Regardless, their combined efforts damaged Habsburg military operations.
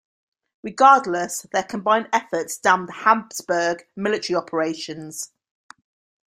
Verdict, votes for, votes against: rejected, 0, 2